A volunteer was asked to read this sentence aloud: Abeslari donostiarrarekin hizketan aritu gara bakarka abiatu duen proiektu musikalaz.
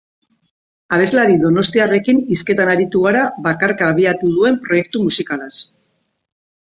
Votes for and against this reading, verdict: 0, 2, rejected